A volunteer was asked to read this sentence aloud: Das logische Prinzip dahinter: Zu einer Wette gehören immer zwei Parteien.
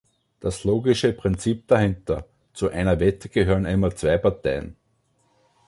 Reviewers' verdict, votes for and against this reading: accepted, 2, 0